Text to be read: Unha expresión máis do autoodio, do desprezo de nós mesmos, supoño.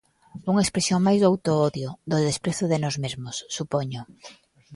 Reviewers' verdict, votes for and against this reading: accepted, 2, 0